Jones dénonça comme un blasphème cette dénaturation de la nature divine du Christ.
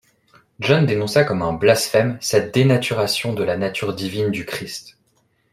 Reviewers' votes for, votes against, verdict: 1, 2, rejected